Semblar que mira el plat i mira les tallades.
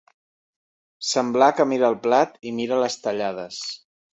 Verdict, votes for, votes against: accepted, 2, 0